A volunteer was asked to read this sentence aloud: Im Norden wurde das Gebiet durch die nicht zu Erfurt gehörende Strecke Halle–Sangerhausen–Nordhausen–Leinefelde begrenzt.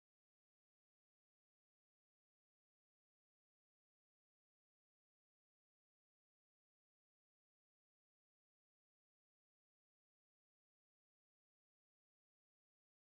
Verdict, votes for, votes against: rejected, 0, 2